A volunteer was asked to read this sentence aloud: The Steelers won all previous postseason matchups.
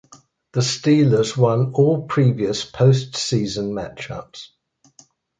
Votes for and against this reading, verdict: 2, 0, accepted